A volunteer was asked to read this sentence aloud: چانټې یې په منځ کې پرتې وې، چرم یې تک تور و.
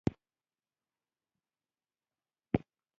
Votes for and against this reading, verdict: 0, 2, rejected